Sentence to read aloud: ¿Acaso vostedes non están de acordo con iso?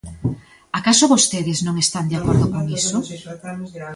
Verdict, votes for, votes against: rejected, 1, 2